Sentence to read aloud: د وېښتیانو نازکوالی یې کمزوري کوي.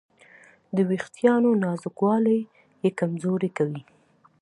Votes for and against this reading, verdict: 2, 0, accepted